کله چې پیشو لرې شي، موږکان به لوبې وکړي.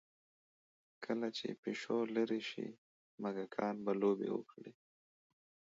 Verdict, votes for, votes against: rejected, 0, 2